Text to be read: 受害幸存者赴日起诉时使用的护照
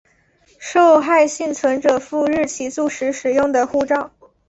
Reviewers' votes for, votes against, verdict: 2, 1, accepted